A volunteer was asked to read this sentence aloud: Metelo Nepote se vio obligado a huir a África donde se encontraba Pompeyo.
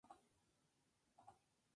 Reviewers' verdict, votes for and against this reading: rejected, 0, 2